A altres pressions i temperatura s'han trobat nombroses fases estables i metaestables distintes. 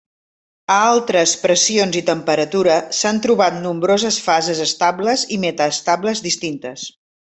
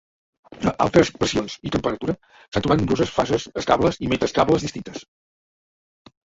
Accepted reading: first